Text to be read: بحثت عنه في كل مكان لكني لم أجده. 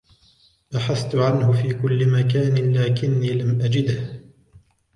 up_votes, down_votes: 2, 1